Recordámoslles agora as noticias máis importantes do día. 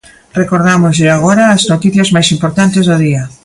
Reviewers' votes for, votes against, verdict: 0, 2, rejected